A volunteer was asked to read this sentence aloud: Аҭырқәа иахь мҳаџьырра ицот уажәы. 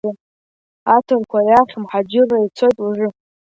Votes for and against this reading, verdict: 2, 0, accepted